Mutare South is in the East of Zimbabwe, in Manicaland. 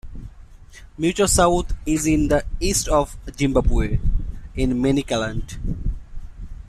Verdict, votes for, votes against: accepted, 2, 1